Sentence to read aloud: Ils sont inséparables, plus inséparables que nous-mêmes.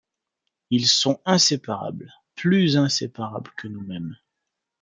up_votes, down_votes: 2, 0